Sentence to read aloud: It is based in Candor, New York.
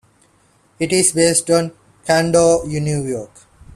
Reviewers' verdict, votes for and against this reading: rejected, 0, 2